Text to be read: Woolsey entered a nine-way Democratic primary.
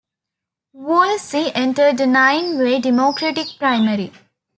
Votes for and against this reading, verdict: 2, 0, accepted